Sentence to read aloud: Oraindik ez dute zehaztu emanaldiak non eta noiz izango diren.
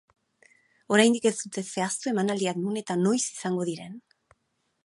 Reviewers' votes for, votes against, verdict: 0, 4, rejected